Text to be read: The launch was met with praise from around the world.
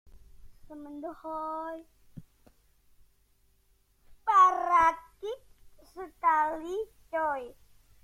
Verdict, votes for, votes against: rejected, 0, 2